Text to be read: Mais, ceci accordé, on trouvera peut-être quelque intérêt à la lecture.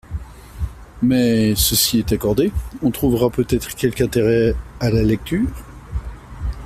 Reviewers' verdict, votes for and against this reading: rejected, 1, 2